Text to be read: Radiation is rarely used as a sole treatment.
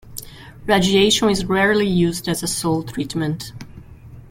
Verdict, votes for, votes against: accepted, 2, 0